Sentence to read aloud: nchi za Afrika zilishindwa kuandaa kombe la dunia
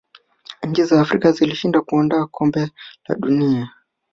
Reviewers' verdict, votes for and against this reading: accepted, 5, 0